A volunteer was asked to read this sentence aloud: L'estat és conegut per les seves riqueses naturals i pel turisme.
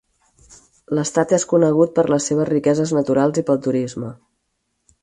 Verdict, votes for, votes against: accepted, 4, 0